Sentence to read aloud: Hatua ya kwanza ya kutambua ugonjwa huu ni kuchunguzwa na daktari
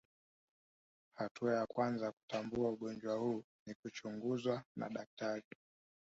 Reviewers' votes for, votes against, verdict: 2, 0, accepted